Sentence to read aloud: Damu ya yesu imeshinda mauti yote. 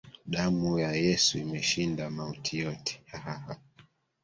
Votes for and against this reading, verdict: 1, 2, rejected